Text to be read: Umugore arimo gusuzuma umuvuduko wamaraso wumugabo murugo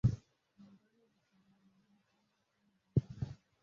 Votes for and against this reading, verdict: 0, 2, rejected